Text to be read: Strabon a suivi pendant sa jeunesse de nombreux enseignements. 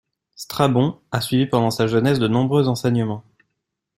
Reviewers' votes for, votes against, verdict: 2, 0, accepted